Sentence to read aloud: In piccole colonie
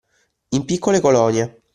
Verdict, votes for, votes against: accepted, 2, 0